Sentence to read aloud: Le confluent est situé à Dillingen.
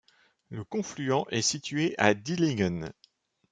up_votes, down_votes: 2, 0